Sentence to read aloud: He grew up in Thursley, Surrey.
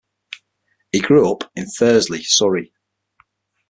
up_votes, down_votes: 6, 0